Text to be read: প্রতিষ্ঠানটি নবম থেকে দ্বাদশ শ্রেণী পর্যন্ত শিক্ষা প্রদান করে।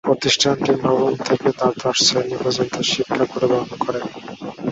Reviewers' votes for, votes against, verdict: 2, 0, accepted